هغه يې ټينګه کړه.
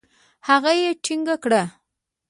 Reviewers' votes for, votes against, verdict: 2, 1, accepted